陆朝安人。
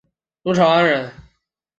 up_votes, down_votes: 2, 0